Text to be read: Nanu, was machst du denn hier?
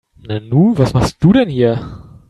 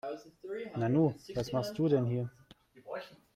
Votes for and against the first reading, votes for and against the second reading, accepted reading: 3, 0, 1, 2, first